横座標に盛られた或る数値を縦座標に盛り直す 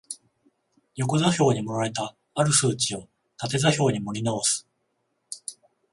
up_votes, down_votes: 14, 0